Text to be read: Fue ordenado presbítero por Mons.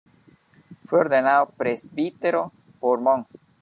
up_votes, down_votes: 1, 2